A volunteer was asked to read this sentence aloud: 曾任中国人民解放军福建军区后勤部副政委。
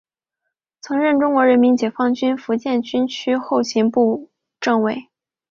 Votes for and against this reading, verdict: 0, 2, rejected